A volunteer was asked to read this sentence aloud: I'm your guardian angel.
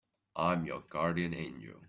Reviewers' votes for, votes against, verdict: 1, 2, rejected